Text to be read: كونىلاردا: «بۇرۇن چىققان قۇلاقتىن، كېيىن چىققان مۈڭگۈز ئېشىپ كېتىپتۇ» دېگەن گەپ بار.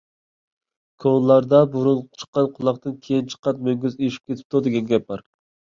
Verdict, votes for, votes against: accepted, 2, 0